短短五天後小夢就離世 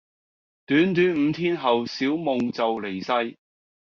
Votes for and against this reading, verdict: 2, 0, accepted